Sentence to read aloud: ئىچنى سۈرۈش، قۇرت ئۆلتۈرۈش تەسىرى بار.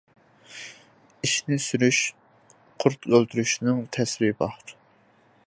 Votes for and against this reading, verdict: 0, 2, rejected